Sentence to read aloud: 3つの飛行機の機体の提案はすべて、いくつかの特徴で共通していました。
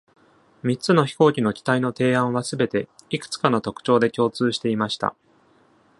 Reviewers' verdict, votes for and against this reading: rejected, 0, 2